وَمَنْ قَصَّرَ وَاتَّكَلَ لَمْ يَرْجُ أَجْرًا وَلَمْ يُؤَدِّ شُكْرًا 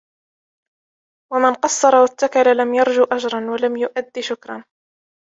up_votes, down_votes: 2, 0